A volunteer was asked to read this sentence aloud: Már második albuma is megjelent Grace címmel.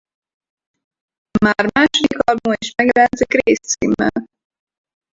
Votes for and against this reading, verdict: 0, 4, rejected